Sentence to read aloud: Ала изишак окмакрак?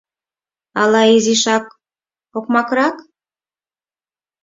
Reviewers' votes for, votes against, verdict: 4, 0, accepted